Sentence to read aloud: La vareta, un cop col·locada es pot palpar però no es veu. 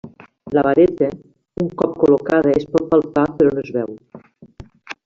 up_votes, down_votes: 1, 2